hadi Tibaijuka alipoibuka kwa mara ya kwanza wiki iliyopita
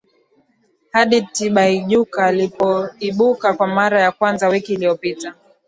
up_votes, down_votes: 8, 2